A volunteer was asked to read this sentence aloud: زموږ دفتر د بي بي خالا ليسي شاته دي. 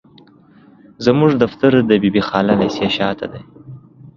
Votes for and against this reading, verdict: 2, 1, accepted